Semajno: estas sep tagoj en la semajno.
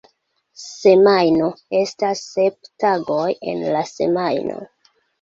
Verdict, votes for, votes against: rejected, 0, 2